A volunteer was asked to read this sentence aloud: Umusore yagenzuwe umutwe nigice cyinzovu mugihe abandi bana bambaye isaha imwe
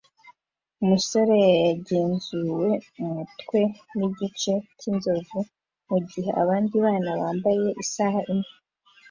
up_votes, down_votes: 2, 0